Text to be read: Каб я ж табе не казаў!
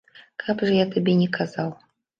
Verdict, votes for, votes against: rejected, 1, 2